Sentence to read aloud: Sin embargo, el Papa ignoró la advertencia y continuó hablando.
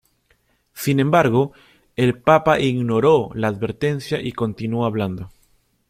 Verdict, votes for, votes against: accepted, 2, 0